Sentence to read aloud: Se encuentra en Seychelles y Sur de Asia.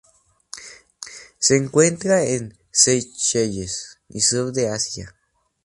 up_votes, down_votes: 0, 2